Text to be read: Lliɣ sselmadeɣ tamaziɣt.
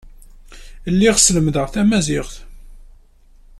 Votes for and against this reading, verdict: 1, 2, rejected